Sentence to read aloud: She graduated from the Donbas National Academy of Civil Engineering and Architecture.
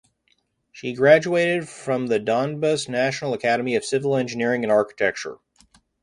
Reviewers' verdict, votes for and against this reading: accepted, 2, 0